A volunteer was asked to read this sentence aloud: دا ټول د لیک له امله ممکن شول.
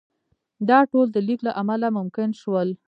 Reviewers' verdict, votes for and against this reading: accepted, 2, 1